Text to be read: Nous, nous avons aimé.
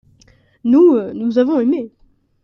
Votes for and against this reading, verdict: 0, 2, rejected